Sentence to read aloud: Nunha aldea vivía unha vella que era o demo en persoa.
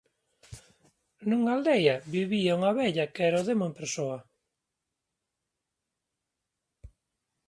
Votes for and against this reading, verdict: 1, 2, rejected